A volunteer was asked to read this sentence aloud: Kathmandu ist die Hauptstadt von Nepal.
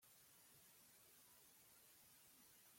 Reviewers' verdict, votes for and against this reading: rejected, 0, 2